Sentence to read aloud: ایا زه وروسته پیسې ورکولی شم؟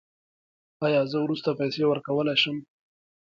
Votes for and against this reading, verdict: 1, 2, rejected